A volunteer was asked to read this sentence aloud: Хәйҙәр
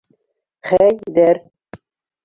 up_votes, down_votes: 2, 1